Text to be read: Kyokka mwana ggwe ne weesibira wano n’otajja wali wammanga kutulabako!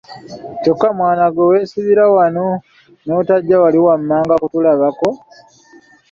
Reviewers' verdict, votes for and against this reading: accepted, 2, 0